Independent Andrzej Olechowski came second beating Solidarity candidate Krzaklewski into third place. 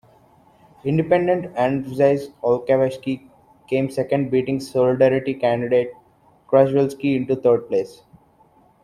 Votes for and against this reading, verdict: 2, 1, accepted